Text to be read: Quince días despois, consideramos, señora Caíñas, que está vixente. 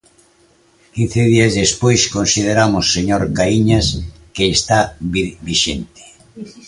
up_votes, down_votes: 1, 2